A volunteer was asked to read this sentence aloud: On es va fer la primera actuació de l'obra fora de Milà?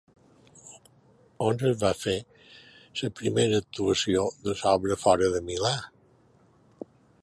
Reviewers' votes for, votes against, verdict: 0, 2, rejected